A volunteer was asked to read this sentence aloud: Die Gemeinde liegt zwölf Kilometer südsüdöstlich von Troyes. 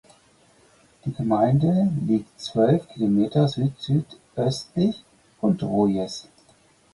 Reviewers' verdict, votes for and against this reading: accepted, 4, 0